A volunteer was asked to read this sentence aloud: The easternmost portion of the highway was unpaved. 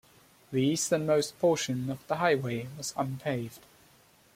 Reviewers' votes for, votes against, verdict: 2, 0, accepted